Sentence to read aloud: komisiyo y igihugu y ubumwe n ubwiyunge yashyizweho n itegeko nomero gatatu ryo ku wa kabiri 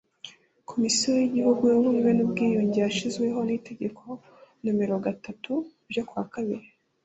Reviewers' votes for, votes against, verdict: 2, 0, accepted